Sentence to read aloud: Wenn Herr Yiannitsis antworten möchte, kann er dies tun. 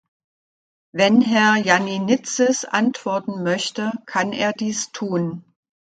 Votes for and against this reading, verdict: 1, 2, rejected